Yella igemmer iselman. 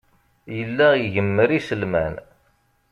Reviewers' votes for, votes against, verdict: 2, 0, accepted